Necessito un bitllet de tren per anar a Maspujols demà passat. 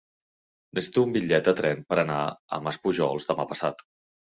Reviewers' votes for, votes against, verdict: 1, 2, rejected